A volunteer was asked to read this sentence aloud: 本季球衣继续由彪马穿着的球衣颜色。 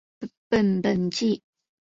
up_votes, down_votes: 1, 4